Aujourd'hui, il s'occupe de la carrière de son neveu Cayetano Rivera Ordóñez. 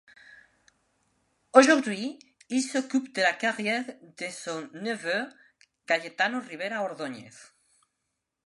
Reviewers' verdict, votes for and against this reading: accepted, 2, 0